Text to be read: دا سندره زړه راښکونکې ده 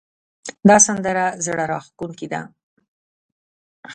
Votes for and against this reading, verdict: 0, 2, rejected